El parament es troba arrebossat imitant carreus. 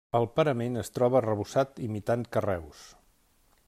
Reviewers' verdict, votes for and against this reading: accepted, 3, 0